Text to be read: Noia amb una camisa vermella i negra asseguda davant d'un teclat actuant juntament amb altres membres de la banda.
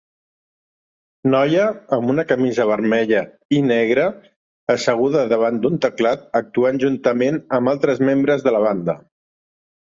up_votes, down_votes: 3, 0